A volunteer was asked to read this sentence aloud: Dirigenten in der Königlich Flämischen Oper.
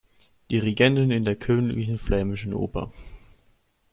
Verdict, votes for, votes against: rejected, 0, 2